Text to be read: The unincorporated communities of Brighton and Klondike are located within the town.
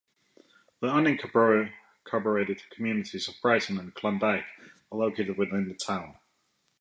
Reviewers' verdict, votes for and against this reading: rejected, 0, 2